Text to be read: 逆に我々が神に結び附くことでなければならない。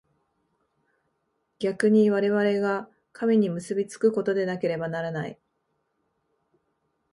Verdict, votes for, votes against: rejected, 0, 3